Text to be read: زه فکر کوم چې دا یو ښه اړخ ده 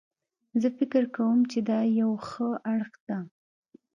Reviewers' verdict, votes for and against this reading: accepted, 3, 0